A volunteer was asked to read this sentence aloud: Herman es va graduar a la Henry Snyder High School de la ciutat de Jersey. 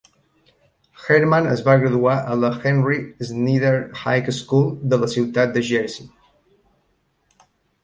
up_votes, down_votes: 1, 2